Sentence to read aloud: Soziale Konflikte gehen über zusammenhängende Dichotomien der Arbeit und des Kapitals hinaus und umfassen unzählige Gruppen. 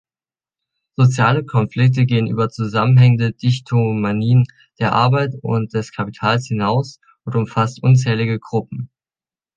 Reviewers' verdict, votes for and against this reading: rejected, 0, 2